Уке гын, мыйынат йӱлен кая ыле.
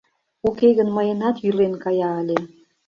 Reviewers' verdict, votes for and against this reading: accepted, 2, 0